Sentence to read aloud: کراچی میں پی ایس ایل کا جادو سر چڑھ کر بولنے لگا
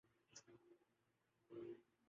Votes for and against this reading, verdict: 0, 2, rejected